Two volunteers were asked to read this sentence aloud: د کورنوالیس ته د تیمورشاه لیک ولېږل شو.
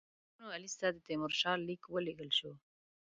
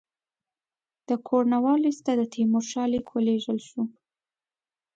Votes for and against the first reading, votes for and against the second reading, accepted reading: 0, 2, 2, 0, second